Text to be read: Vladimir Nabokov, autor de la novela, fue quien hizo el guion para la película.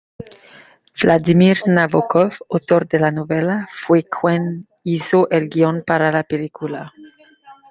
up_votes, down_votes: 2, 0